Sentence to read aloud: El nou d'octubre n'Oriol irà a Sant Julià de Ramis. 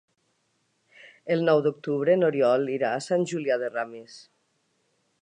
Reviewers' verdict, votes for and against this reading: accepted, 4, 0